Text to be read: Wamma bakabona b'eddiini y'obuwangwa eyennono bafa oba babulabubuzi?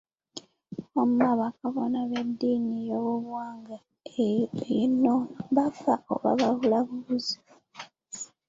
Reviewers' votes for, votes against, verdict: 1, 2, rejected